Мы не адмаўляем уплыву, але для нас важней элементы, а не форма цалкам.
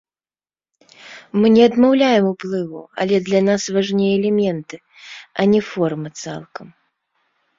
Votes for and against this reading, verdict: 1, 2, rejected